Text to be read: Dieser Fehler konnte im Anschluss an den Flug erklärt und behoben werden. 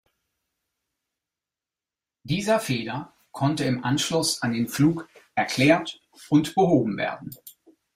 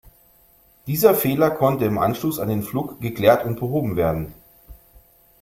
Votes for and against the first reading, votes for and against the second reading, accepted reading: 2, 0, 1, 2, first